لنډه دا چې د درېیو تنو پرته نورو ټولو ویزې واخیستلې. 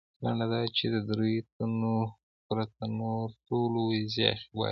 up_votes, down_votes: 2, 1